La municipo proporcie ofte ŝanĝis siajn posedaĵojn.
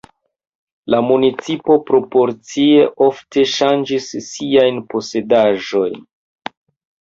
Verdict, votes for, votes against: rejected, 0, 2